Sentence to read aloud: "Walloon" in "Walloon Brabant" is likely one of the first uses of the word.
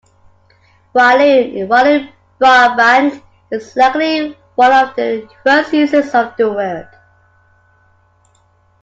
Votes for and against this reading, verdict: 2, 1, accepted